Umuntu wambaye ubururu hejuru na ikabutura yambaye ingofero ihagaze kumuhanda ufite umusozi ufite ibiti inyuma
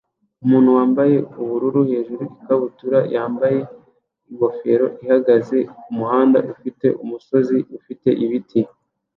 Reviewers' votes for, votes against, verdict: 1, 2, rejected